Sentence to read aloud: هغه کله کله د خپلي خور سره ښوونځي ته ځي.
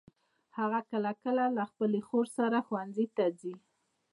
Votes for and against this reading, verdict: 2, 0, accepted